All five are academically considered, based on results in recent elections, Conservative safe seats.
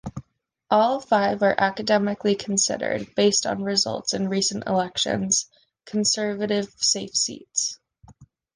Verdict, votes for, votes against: accepted, 2, 0